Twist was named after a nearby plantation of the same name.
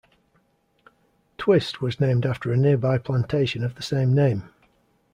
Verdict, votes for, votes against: accepted, 2, 0